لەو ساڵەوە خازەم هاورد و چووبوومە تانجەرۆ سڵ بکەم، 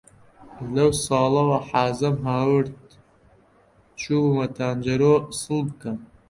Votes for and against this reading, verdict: 1, 2, rejected